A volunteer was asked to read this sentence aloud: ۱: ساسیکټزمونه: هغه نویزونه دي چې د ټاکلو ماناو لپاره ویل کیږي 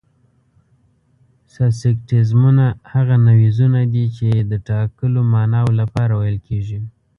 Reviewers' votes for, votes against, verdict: 0, 2, rejected